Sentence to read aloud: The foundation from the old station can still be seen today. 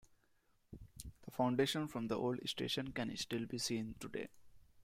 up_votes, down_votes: 2, 0